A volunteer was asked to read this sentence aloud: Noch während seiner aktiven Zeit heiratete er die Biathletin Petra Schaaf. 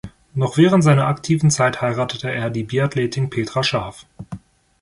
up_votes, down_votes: 2, 0